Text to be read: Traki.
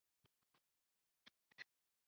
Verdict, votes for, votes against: rejected, 0, 2